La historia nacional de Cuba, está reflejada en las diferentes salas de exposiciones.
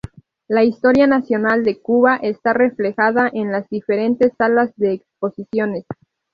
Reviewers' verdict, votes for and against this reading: accepted, 2, 0